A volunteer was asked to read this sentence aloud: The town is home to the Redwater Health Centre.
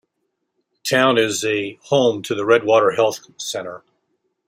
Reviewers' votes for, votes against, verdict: 1, 2, rejected